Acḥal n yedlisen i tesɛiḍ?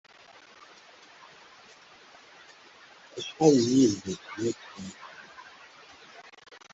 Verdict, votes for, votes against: rejected, 0, 2